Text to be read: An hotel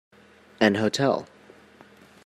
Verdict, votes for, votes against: accepted, 2, 0